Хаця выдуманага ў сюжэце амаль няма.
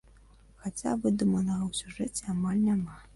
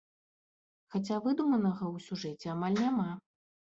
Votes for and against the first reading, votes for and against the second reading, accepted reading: 1, 2, 2, 0, second